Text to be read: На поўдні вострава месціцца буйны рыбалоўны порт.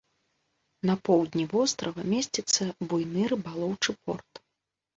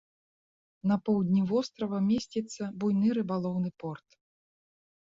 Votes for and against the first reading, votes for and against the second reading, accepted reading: 0, 2, 4, 0, second